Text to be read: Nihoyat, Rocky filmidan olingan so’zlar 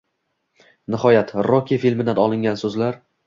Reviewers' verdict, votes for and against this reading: rejected, 1, 2